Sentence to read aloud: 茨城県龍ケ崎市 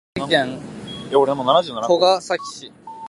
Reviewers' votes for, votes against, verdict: 1, 2, rejected